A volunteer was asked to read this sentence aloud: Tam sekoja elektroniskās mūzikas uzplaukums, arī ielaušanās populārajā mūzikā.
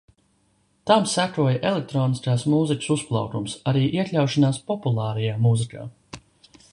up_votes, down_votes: 1, 2